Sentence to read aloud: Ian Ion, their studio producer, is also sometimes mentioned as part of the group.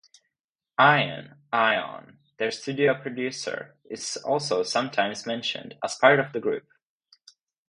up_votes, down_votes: 2, 2